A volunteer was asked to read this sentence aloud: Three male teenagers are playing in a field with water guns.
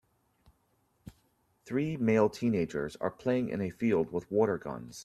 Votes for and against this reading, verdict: 2, 0, accepted